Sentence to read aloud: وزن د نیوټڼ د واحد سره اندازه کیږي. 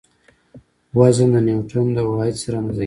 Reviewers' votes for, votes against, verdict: 1, 2, rejected